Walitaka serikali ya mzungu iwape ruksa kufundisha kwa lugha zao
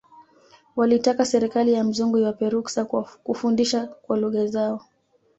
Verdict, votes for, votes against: rejected, 1, 2